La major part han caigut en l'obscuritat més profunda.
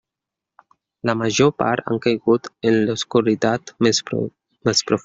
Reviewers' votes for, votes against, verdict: 0, 2, rejected